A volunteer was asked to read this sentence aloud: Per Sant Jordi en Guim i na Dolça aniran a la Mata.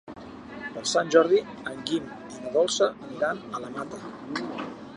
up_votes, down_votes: 0, 2